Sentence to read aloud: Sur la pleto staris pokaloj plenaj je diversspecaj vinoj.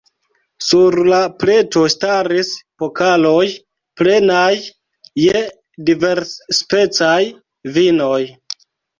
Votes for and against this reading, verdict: 1, 2, rejected